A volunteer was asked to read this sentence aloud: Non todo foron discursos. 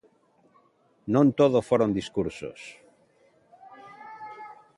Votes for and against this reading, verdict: 2, 0, accepted